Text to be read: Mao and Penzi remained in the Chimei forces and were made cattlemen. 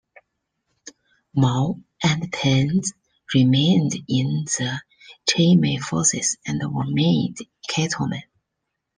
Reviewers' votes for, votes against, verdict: 2, 3, rejected